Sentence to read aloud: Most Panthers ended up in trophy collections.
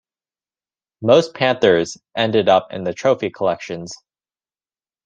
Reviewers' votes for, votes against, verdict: 0, 3, rejected